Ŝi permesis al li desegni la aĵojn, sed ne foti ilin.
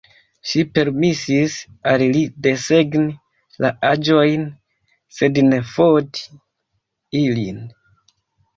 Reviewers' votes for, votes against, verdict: 0, 2, rejected